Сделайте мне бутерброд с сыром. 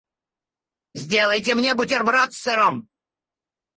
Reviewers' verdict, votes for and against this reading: rejected, 0, 4